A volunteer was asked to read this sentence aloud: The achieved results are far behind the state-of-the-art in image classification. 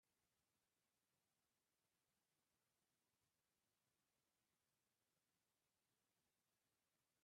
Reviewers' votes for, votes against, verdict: 0, 2, rejected